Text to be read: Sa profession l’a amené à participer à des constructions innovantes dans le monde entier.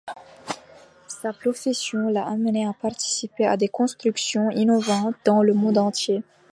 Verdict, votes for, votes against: accepted, 2, 0